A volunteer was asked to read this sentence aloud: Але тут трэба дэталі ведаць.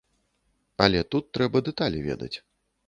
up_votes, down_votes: 2, 0